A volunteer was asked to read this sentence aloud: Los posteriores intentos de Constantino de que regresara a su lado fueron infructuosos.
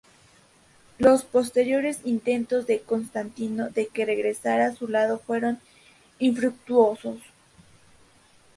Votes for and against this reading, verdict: 2, 2, rejected